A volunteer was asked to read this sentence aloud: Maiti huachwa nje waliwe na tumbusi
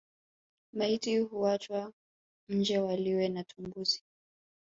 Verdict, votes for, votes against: rejected, 1, 2